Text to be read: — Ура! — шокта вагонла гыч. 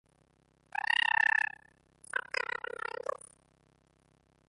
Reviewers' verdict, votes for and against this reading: rejected, 0, 2